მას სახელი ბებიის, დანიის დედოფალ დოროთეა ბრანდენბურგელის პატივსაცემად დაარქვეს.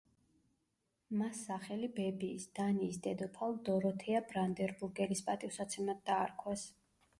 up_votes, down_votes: 0, 2